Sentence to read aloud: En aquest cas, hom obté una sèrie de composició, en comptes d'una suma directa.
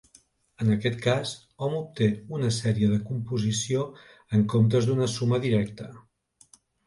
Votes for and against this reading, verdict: 2, 0, accepted